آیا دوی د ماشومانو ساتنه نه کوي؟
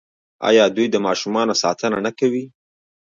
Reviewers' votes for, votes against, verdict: 2, 0, accepted